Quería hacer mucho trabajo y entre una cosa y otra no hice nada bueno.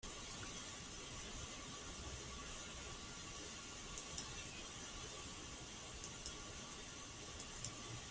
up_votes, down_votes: 0, 2